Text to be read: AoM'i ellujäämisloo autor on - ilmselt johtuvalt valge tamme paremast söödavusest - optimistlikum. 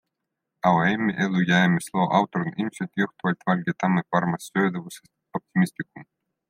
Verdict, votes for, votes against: rejected, 1, 2